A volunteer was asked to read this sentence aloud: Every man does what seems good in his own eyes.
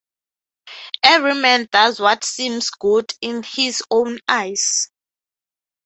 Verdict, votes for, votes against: accepted, 6, 3